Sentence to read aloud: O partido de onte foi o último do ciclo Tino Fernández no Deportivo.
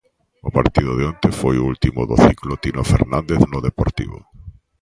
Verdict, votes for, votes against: accepted, 2, 0